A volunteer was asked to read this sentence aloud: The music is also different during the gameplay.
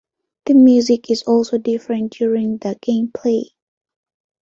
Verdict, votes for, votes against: accepted, 2, 0